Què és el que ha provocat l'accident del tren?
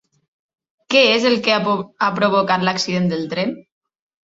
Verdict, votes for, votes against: rejected, 1, 2